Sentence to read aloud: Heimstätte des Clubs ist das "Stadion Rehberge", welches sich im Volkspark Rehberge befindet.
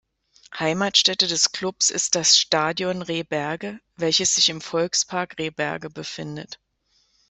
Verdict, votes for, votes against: rejected, 1, 2